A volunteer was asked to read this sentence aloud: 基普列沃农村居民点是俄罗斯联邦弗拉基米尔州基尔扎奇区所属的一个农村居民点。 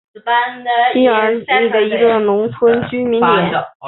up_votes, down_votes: 3, 1